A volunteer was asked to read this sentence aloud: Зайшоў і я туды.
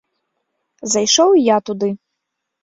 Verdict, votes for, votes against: rejected, 0, 2